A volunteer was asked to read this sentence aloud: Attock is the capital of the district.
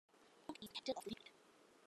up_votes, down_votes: 0, 2